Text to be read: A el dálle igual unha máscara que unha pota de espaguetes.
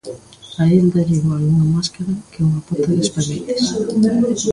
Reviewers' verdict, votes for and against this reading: rejected, 1, 2